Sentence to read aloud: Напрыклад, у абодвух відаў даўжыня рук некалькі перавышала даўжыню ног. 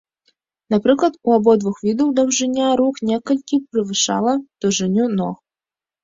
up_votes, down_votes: 1, 2